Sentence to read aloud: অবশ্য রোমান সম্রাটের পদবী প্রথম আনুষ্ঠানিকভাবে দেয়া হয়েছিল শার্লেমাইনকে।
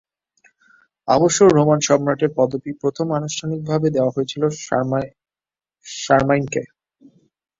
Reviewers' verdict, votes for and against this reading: rejected, 0, 2